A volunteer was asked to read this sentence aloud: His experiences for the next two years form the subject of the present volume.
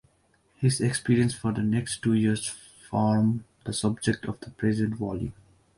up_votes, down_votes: 2, 3